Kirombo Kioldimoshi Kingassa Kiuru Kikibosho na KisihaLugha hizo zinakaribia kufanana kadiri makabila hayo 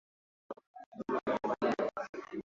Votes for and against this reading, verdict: 0, 2, rejected